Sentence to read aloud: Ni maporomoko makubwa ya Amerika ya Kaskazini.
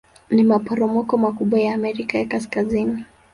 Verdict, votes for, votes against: accepted, 2, 0